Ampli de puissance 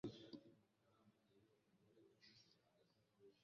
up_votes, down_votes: 0, 2